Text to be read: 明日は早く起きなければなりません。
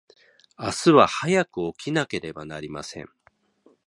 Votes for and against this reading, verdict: 2, 0, accepted